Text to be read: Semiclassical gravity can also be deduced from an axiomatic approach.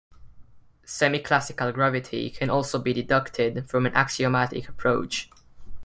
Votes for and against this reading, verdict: 0, 2, rejected